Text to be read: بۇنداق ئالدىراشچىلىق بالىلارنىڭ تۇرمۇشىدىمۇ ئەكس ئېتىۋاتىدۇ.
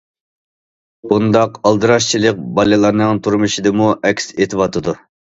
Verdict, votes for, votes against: accepted, 2, 0